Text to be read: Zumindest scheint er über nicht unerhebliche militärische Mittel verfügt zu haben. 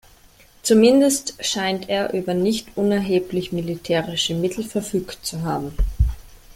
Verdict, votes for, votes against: rejected, 0, 2